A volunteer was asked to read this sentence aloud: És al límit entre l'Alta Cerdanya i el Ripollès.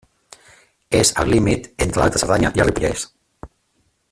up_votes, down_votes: 1, 2